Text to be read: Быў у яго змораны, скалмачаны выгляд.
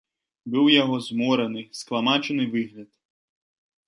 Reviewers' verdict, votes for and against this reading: rejected, 1, 2